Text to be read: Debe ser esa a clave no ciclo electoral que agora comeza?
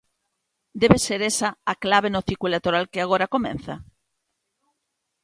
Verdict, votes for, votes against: rejected, 0, 2